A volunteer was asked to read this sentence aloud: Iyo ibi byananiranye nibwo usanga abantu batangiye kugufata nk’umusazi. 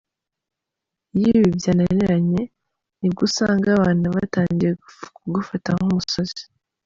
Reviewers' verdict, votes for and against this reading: rejected, 0, 2